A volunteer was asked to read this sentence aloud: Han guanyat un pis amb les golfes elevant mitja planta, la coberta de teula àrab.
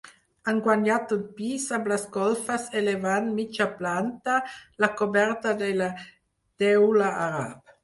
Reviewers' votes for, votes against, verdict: 0, 4, rejected